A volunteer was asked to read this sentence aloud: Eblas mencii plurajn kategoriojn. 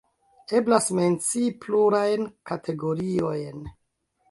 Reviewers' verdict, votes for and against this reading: rejected, 0, 2